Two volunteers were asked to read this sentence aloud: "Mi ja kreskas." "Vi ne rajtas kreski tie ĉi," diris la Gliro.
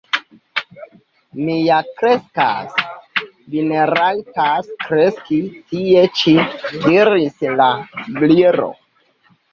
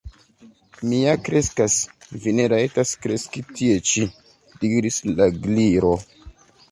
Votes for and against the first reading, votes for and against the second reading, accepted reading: 0, 2, 2, 1, second